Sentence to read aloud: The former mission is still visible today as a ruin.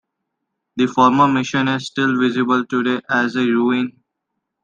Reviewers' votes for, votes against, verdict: 2, 0, accepted